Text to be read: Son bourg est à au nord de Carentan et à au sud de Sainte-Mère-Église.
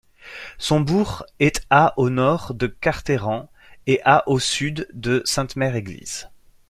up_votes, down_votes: 0, 2